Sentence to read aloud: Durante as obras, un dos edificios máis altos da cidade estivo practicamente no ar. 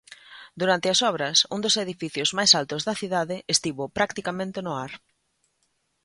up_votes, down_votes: 2, 0